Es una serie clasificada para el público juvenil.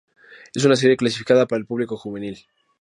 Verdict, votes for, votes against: accepted, 2, 0